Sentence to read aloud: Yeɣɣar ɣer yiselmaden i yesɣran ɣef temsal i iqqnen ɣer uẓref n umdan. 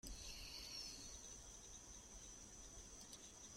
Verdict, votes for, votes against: rejected, 0, 2